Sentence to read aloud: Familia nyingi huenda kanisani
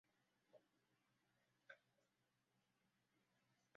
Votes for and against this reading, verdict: 0, 2, rejected